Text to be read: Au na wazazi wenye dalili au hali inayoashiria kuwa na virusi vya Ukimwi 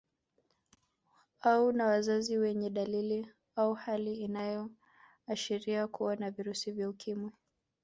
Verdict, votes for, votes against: accepted, 3, 1